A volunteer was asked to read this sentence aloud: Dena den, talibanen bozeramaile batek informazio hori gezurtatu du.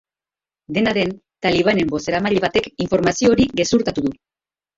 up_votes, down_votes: 1, 2